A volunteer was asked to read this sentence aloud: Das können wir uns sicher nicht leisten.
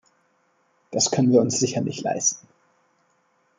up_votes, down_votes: 2, 0